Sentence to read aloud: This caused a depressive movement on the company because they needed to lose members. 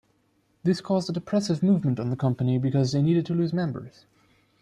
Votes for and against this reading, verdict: 2, 0, accepted